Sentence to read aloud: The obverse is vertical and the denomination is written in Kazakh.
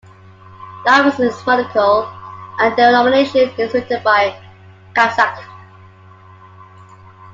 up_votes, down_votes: 0, 2